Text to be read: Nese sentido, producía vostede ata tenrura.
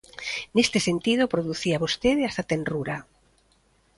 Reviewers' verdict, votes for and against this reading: rejected, 0, 2